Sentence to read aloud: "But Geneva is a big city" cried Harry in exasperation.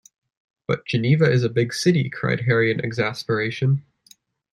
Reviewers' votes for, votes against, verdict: 2, 0, accepted